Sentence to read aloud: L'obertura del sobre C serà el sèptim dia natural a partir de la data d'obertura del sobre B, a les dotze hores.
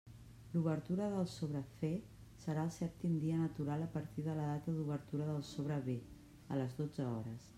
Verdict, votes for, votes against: accepted, 2, 0